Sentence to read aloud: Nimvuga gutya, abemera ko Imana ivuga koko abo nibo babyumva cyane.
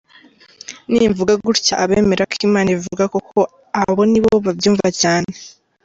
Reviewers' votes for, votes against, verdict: 2, 0, accepted